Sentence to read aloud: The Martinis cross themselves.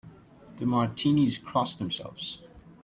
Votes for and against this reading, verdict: 2, 0, accepted